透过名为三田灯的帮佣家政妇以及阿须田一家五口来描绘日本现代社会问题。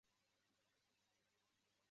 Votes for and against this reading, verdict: 0, 2, rejected